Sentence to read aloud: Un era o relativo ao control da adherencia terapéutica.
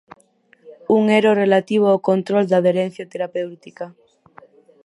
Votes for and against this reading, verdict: 0, 4, rejected